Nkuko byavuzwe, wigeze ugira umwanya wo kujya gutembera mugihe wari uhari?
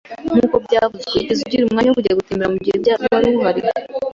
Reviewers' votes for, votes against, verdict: 2, 0, accepted